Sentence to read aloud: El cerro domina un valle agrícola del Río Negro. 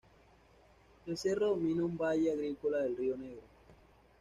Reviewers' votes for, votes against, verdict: 1, 2, rejected